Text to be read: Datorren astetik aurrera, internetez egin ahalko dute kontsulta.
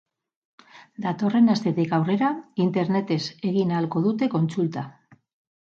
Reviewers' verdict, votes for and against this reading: rejected, 2, 2